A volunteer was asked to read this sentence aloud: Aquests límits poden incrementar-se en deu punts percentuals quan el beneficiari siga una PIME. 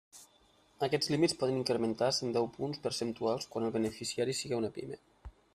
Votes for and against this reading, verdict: 1, 2, rejected